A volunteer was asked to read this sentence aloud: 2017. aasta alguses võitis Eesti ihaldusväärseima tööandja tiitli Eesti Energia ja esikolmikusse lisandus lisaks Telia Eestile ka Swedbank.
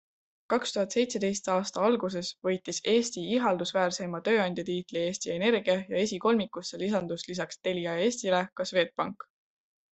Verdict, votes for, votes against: rejected, 0, 2